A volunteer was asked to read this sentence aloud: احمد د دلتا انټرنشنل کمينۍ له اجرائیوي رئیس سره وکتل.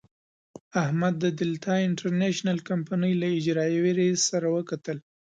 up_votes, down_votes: 2, 0